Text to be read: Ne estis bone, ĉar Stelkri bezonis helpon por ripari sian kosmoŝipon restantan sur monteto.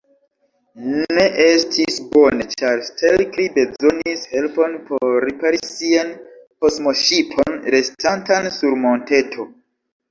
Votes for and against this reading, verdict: 3, 0, accepted